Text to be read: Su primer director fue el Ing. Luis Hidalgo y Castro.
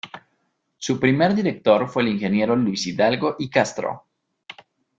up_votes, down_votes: 1, 2